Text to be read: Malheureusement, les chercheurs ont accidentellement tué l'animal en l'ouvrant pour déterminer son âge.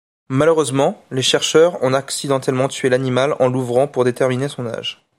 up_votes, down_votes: 2, 0